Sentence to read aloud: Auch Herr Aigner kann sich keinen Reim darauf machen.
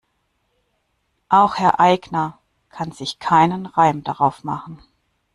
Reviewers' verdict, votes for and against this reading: accepted, 2, 0